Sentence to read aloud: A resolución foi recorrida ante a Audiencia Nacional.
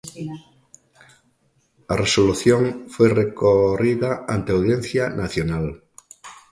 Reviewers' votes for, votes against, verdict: 1, 2, rejected